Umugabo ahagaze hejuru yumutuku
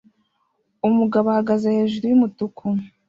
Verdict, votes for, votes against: accepted, 2, 0